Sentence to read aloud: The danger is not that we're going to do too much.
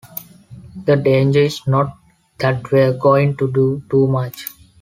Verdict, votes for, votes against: accepted, 2, 0